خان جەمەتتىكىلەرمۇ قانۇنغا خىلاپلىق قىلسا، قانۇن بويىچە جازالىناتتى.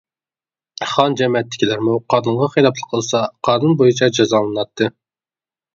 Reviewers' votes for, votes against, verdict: 0, 2, rejected